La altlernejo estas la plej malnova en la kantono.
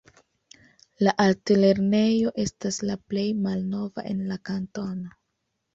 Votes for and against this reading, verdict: 2, 0, accepted